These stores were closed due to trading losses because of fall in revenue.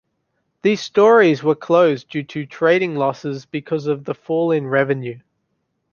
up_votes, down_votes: 0, 2